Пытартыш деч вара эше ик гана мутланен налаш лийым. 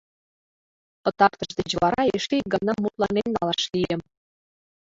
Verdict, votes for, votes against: accepted, 2, 0